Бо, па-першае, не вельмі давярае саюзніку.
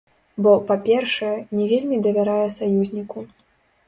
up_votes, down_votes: 1, 3